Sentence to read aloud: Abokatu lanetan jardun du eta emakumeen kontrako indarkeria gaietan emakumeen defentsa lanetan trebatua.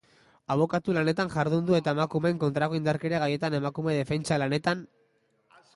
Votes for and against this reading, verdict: 0, 2, rejected